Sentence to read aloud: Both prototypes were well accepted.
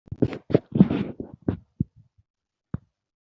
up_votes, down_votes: 0, 2